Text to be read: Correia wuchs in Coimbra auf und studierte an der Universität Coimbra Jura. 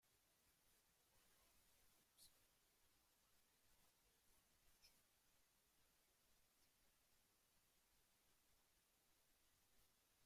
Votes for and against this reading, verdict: 0, 2, rejected